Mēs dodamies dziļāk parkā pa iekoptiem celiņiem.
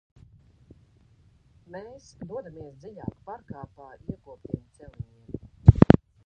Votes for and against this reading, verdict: 0, 2, rejected